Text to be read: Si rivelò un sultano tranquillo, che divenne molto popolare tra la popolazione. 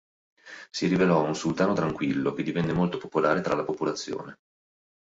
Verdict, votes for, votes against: accepted, 3, 0